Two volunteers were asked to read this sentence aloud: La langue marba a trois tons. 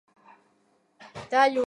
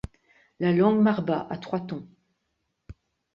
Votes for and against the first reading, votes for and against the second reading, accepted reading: 0, 2, 2, 0, second